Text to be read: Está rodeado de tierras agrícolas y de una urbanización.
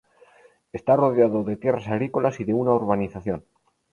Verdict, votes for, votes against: rejected, 2, 2